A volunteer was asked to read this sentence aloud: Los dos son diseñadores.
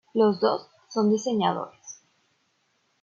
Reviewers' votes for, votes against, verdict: 0, 2, rejected